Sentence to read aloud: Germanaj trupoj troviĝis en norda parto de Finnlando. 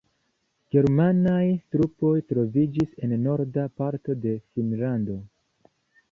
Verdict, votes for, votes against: accepted, 2, 0